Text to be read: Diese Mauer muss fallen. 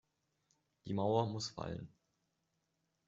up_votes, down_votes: 0, 2